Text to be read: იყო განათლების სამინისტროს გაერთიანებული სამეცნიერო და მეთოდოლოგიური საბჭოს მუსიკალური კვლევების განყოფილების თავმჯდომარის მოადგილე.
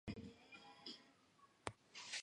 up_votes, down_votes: 0, 2